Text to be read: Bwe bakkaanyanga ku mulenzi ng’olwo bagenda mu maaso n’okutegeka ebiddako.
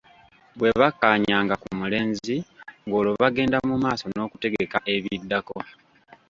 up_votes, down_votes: 2, 0